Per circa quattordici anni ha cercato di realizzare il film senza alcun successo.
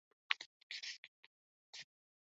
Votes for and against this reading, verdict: 0, 2, rejected